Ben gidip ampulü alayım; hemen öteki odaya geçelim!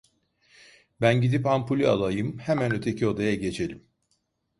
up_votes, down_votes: 1, 2